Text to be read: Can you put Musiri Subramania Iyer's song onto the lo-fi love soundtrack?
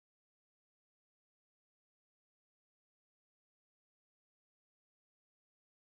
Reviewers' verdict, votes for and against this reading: rejected, 0, 2